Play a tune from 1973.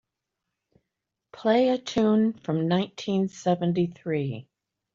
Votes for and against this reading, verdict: 0, 2, rejected